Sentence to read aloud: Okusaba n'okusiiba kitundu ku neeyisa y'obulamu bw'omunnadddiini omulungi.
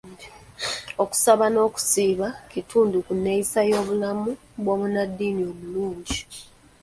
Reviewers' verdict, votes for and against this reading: accepted, 2, 0